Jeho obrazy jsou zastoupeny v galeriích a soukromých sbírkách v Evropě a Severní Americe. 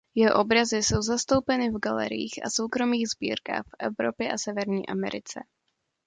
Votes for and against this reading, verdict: 2, 1, accepted